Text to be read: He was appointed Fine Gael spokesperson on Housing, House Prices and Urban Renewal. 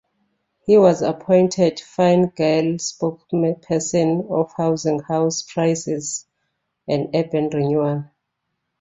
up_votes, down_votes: 0, 2